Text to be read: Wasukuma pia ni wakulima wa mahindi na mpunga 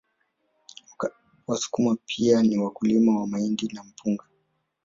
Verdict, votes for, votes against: rejected, 1, 2